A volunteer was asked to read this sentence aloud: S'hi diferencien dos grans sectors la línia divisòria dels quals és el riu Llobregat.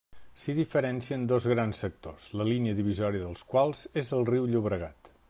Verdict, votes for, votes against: rejected, 1, 2